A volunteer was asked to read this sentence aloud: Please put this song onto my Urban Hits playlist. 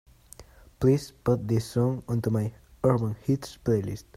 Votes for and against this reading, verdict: 2, 0, accepted